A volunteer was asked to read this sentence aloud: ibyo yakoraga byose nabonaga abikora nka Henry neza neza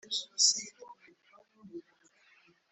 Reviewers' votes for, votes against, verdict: 0, 2, rejected